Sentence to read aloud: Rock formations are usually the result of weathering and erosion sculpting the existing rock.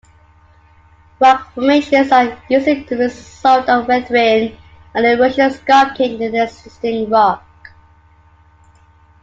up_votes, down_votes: 2, 1